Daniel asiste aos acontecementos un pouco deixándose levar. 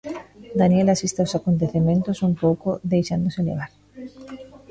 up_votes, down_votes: 1, 2